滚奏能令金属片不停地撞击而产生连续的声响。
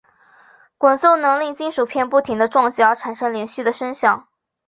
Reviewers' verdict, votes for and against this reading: accepted, 2, 0